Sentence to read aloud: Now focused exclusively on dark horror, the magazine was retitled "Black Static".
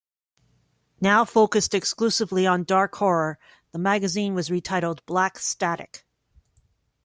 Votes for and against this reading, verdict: 2, 0, accepted